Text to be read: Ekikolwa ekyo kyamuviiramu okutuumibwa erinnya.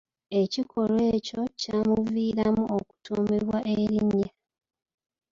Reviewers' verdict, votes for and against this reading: accepted, 2, 0